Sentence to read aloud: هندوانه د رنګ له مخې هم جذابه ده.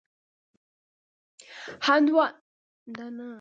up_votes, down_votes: 0, 2